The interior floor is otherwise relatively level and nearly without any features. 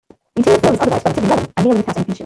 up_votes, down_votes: 1, 2